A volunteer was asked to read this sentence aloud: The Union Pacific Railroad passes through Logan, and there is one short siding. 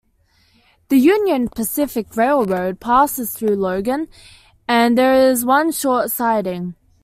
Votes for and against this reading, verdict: 2, 0, accepted